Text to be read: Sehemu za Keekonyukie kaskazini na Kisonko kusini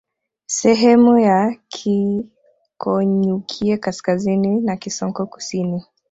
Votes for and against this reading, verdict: 0, 2, rejected